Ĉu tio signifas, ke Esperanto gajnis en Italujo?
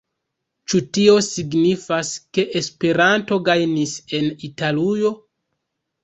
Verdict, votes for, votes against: rejected, 1, 2